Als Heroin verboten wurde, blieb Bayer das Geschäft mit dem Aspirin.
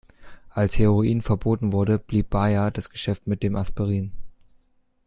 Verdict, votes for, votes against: accepted, 2, 0